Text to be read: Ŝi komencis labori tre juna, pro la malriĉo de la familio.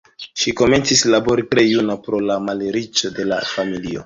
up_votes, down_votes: 2, 1